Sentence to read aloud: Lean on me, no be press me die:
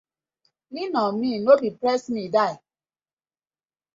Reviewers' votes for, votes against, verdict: 2, 0, accepted